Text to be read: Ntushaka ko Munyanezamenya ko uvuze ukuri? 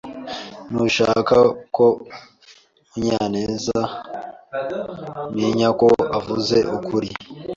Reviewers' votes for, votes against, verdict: 0, 2, rejected